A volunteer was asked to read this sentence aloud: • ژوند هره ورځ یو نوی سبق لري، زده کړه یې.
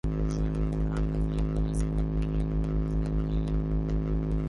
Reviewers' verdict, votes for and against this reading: rejected, 0, 2